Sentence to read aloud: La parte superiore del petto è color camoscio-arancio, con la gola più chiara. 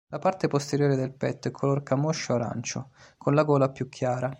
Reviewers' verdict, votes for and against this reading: rejected, 0, 2